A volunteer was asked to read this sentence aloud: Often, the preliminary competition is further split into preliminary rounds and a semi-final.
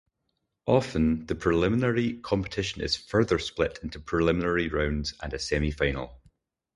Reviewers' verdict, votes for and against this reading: accepted, 4, 0